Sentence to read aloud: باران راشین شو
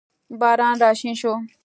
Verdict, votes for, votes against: accepted, 2, 0